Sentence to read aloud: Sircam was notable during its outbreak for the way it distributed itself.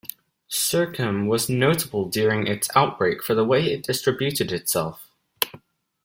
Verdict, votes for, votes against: accepted, 2, 0